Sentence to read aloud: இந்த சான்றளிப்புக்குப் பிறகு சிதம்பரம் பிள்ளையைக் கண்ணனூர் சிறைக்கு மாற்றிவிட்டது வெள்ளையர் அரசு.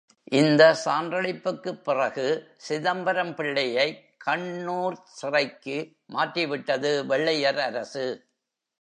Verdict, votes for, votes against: rejected, 0, 2